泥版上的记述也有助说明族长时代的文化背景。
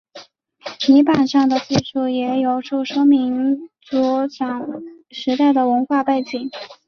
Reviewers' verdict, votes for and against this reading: rejected, 1, 2